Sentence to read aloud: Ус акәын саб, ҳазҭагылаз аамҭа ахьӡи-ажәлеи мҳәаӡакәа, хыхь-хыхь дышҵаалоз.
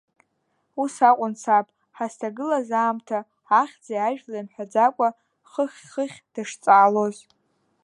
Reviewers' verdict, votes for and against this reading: rejected, 1, 2